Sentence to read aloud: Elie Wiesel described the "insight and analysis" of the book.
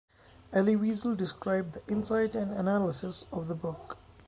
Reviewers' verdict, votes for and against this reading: accepted, 3, 0